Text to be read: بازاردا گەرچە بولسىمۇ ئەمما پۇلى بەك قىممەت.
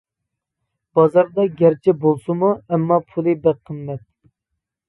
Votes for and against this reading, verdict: 2, 0, accepted